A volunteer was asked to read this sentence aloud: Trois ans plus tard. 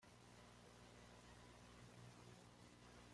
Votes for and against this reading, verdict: 1, 2, rejected